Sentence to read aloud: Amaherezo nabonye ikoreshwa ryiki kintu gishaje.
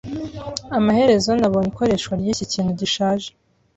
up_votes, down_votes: 2, 0